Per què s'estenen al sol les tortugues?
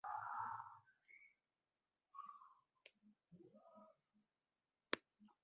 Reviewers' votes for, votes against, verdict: 0, 2, rejected